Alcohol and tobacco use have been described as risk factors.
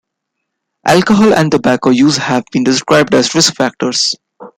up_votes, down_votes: 2, 0